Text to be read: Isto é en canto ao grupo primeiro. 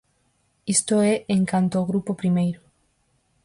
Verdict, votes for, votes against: accepted, 4, 0